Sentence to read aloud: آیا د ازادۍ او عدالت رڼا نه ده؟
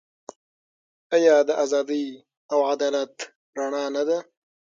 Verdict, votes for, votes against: accepted, 6, 0